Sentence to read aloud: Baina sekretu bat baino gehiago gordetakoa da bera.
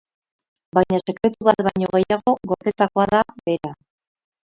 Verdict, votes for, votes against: rejected, 0, 2